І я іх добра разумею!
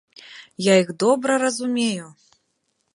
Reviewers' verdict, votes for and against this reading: rejected, 1, 2